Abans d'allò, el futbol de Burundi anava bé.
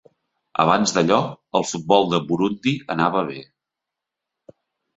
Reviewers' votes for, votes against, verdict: 2, 0, accepted